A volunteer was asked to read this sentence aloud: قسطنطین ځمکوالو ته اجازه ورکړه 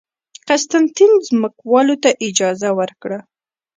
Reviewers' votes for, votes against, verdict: 0, 2, rejected